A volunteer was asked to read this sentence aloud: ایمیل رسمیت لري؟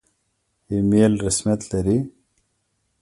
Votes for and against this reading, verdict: 0, 2, rejected